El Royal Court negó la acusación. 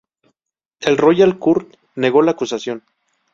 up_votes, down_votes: 2, 0